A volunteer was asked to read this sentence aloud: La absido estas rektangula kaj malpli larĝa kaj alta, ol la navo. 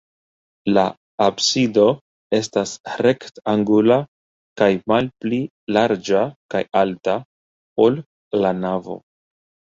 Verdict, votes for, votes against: accepted, 2, 0